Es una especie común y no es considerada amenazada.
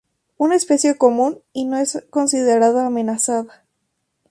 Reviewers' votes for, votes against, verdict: 2, 0, accepted